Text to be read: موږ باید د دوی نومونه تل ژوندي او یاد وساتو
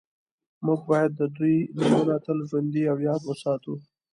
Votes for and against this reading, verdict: 2, 1, accepted